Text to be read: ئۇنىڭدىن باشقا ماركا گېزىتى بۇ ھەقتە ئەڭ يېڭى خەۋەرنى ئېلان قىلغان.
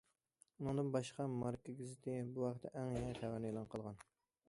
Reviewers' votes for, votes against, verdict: 0, 2, rejected